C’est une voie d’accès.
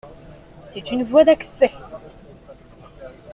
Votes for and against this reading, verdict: 2, 0, accepted